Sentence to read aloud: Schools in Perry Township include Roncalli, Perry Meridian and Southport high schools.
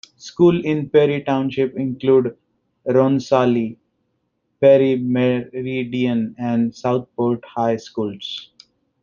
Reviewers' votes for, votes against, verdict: 0, 2, rejected